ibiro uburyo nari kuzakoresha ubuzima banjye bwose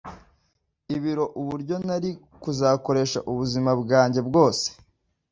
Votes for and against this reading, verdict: 2, 0, accepted